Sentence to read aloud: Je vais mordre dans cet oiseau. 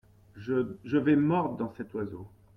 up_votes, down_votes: 0, 2